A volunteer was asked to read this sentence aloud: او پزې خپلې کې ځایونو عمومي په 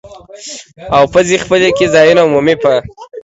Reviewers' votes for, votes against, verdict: 2, 0, accepted